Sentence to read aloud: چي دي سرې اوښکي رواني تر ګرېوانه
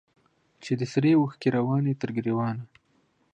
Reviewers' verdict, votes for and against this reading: accepted, 2, 0